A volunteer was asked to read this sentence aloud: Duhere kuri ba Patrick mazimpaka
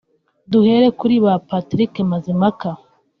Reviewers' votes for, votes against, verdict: 2, 0, accepted